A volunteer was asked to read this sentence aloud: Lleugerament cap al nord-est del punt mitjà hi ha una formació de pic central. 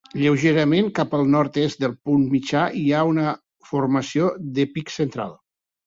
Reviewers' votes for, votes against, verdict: 0, 2, rejected